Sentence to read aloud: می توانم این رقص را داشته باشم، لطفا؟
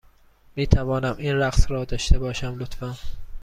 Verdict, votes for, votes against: accepted, 2, 0